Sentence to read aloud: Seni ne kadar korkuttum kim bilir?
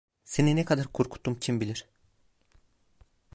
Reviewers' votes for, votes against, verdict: 1, 2, rejected